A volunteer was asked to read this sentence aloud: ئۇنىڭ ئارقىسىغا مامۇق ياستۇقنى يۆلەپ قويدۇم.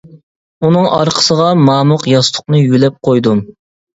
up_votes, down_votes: 2, 0